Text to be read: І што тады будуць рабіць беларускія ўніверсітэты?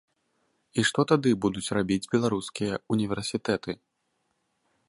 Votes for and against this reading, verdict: 2, 0, accepted